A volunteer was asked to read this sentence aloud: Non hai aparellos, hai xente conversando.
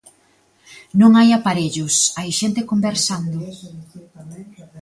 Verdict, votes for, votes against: rejected, 0, 2